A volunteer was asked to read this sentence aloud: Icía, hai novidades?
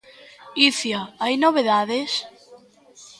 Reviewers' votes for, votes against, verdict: 0, 2, rejected